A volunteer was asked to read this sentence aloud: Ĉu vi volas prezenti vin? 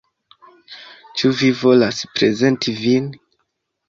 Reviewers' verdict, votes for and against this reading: accepted, 2, 0